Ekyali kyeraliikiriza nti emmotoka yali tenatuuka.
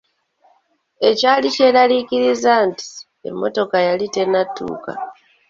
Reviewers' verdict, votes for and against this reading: accepted, 2, 0